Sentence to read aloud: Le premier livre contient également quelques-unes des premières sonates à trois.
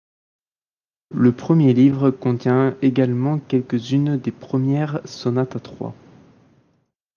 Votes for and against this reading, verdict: 2, 1, accepted